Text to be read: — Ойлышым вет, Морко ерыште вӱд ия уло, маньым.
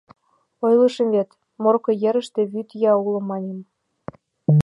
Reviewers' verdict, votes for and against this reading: accepted, 2, 0